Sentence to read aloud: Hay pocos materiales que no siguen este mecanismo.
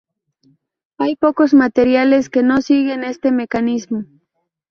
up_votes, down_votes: 0, 2